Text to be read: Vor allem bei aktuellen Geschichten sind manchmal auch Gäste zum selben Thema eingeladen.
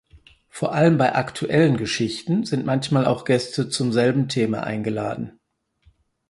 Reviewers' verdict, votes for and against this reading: accepted, 4, 0